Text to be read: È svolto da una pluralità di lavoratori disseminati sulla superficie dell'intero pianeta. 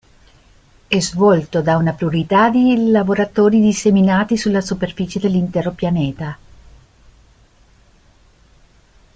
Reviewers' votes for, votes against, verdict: 1, 2, rejected